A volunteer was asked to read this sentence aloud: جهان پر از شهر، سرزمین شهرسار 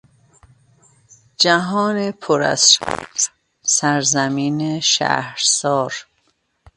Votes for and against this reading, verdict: 1, 2, rejected